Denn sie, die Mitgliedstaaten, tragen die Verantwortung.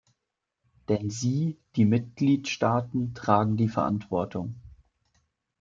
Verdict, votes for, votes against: accepted, 2, 0